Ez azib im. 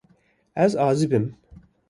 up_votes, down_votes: 2, 0